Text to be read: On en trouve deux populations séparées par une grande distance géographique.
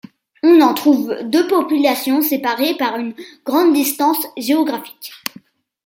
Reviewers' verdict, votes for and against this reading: accepted, 2, 0